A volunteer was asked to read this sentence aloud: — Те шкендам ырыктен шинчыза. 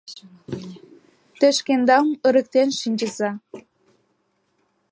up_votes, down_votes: 1, 2